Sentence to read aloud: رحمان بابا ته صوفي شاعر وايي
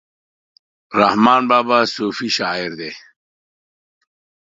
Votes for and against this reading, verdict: 1, 2, rejected